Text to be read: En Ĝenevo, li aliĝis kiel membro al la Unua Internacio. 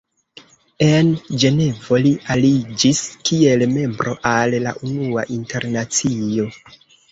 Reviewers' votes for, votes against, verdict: 1, 2, rejected